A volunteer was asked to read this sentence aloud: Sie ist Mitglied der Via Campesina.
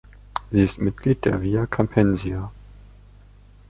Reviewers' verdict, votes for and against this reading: rejected, 0, 2